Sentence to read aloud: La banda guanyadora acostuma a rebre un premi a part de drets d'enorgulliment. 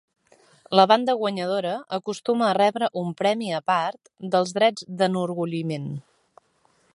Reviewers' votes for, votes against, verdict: 1, 2, rejected